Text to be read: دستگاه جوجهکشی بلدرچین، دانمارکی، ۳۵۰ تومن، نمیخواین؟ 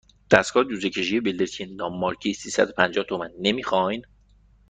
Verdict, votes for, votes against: rejected, 0, 2